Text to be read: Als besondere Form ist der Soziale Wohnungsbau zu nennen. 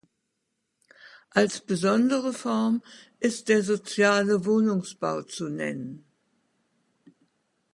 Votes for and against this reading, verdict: 2, 0, accepted